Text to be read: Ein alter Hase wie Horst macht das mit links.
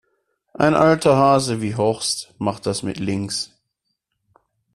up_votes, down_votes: 2, 0